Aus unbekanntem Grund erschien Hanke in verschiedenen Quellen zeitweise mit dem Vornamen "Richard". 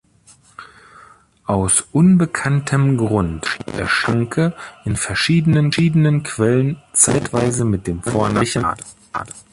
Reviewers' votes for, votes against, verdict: 0, 2, rejected